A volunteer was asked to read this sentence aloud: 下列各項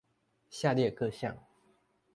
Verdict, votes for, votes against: accepted, 2, 0